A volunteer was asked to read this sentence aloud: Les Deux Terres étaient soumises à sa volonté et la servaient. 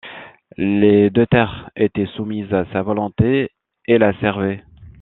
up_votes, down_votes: 2, 0